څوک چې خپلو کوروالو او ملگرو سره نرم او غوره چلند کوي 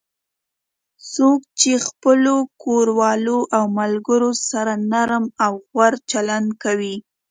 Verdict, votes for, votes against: accepted, 2, 0